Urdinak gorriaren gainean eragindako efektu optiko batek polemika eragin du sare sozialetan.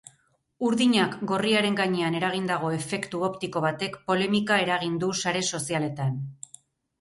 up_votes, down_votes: 6, 0